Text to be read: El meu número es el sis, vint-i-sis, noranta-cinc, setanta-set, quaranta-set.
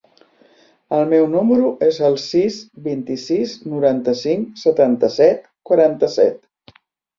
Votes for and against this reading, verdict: 3, 0, accepted